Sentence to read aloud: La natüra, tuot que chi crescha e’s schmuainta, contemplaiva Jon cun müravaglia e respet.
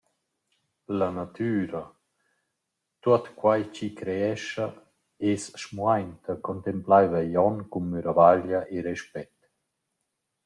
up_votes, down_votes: 1, 2